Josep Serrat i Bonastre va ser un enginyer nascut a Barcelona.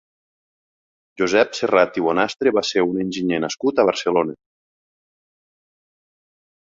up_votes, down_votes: 2, 1